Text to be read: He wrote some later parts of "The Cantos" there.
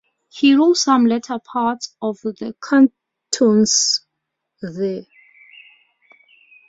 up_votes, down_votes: 2, 0